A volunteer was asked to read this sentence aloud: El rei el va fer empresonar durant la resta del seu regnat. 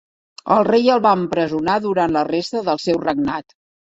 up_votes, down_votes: 0, 2